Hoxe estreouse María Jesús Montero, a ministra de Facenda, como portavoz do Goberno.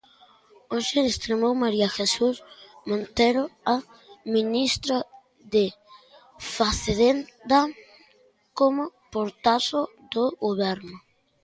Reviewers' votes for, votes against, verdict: 0, 2, rejected